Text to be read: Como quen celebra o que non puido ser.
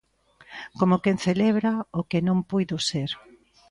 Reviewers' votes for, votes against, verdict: 2, 0, accepted